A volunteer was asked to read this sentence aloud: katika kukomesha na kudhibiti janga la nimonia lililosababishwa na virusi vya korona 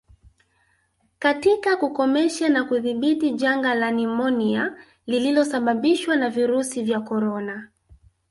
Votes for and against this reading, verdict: 1, 2, rejected